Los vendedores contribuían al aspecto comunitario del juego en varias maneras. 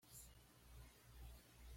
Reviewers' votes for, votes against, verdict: 1, 2, rejected